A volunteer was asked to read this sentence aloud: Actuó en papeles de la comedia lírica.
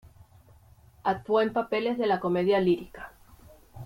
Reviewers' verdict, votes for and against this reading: accepted, 2, 0